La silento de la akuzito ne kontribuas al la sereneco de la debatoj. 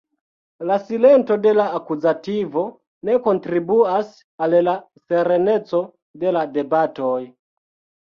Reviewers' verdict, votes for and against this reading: accepted, 2, 0